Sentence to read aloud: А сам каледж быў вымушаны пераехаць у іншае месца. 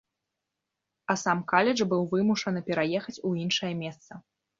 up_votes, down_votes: 0, 2